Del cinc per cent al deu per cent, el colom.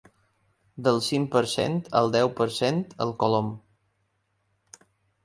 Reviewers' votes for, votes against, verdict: 3, 0, accepted